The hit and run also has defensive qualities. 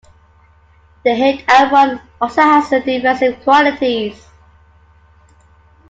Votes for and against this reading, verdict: 2, 1, accepted